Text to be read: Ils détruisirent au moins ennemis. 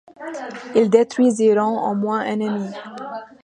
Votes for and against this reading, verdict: 0, 2, rejected